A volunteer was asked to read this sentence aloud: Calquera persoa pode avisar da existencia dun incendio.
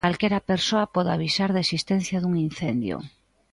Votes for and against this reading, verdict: 2, 0, accepted